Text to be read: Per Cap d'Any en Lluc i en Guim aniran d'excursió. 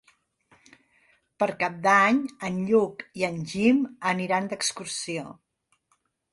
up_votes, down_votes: 0, 2